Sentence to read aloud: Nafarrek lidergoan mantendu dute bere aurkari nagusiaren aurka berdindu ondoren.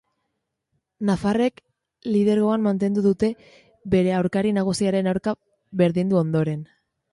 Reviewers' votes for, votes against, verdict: 2, 0, accepted